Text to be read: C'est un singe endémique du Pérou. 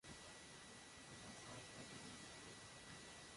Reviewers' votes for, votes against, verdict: 0, 2, rejected